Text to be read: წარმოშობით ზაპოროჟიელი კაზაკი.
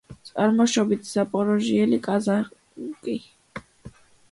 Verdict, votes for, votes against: rejected, 1, 2